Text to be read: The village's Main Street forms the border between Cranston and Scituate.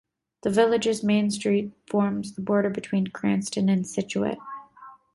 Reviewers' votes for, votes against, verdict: 2, 0, accepted